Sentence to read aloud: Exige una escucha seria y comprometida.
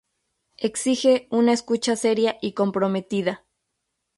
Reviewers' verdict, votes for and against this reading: accepted, 2, 0